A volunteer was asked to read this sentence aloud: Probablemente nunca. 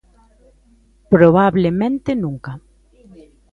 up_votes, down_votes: 2, 0